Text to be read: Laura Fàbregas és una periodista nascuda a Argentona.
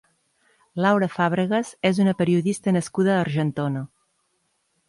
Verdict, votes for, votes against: accepted, 3, 0